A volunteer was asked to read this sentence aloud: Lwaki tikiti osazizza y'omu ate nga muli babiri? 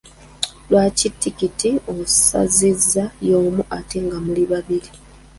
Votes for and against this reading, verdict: 2, 1, accepted